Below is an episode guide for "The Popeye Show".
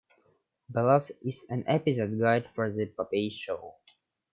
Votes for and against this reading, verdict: 2, 1, accepted